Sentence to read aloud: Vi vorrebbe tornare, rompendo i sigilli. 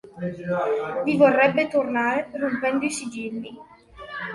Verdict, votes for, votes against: rejected, 1, 2